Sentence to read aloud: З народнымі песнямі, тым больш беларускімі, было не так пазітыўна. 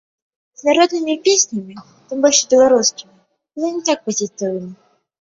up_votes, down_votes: 0, 2